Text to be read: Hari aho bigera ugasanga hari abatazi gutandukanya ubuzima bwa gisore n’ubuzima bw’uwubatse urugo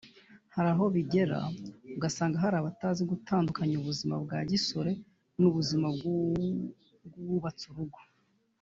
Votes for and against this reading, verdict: 1, 2, rejected